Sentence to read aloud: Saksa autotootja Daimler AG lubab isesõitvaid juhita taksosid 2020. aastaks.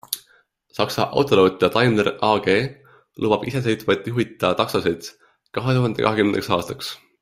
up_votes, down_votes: 0, 2